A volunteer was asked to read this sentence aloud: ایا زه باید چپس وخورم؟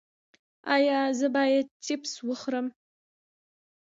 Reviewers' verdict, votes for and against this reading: rejected, 1, 2